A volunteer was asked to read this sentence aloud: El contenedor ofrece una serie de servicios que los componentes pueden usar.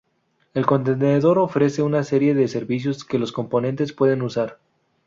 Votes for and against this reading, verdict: 2, 2, rejected